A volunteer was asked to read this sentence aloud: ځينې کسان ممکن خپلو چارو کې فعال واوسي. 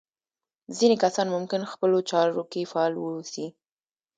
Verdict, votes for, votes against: rejected, 1, 2